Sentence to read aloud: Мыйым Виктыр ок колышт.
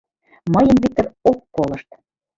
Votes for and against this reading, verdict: 2, 1, accepted